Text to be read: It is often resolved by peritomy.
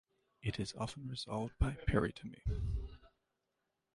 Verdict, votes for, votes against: accepted, 2, 1